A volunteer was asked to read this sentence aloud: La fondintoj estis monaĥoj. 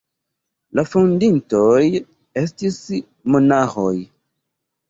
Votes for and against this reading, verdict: 1, 2, rejected